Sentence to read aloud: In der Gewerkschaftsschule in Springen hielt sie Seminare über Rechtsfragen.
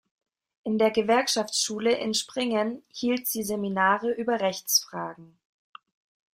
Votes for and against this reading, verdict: 2, 0, accepted